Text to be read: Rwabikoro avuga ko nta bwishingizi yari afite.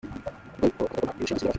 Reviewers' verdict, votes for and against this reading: rejected, 0, 2